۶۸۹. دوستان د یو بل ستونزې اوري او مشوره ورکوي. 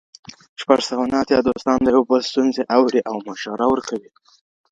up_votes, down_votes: 0, 2